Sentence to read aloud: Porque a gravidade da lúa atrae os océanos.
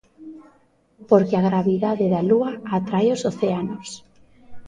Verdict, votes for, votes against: accepted, 2, 0